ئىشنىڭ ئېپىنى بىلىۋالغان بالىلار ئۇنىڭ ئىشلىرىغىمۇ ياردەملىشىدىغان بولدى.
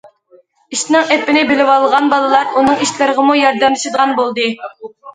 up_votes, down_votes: 2, 0